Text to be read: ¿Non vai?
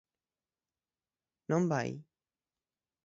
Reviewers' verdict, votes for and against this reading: accepted, 6, 0